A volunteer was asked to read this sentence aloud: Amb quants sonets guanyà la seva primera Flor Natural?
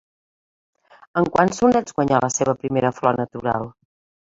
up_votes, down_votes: 2, 1